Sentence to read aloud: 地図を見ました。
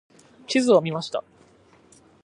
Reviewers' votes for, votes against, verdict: 2, 0, accepted